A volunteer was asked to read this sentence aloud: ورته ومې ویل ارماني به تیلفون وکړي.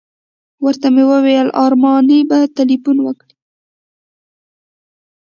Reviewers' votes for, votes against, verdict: 2, 0, accepted